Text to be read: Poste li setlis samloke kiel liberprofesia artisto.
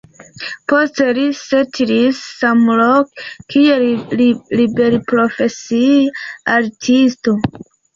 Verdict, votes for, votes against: accepted, 2, 1